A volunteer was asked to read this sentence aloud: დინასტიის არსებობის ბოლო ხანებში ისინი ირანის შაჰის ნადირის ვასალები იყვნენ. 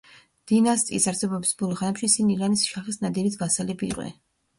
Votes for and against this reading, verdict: 0, 2, rejected